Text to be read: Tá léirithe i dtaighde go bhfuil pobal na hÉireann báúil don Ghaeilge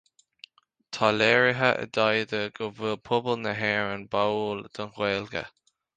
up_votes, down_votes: 2, 0